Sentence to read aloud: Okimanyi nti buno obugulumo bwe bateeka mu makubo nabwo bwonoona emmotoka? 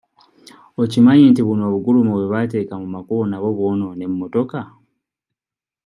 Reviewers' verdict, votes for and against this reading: accepted, 2, 0